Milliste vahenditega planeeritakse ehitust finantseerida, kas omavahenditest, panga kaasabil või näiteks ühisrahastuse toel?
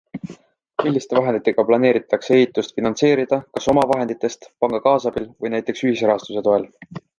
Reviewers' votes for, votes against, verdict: 2, 0, accepted